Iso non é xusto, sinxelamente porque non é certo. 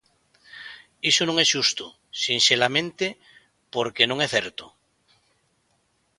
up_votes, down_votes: 2, 0